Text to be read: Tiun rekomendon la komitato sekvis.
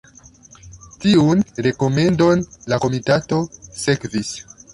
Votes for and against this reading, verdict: 2, 0, accepted